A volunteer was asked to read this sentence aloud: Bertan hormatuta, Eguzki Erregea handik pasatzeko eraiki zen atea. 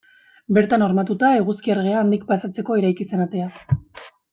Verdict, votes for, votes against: accepted, 2, 0